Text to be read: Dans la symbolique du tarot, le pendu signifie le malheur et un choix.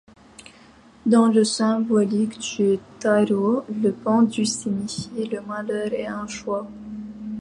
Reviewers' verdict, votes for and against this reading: accepted, 2, 0